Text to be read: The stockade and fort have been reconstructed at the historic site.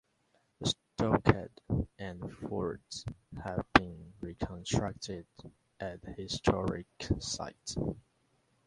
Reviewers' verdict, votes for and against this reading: rejected, 1, 2